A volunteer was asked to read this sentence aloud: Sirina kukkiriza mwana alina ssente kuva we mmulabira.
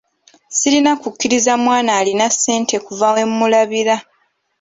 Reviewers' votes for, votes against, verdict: 2, 1, accepted